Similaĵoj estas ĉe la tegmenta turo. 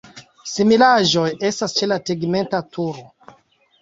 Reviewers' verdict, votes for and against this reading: accepted, 2, 0